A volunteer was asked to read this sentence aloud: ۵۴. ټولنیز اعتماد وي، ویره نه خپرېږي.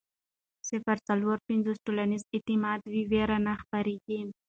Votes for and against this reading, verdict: 0, 2, rejected